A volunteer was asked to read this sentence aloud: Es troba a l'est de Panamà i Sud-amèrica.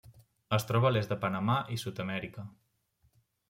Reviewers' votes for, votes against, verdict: 3, 0, accepted